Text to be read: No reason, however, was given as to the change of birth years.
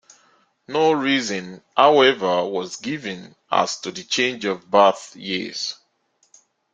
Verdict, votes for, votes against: accepted, 2, 1